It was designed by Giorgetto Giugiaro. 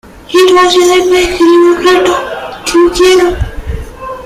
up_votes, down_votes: 0, 2